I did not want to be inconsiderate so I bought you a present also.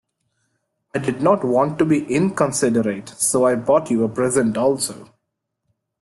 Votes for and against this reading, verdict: 2, 0, accepted